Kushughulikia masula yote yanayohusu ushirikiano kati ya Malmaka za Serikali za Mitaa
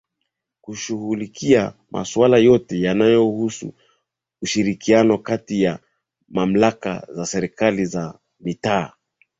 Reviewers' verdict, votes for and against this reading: rejected, 0, 2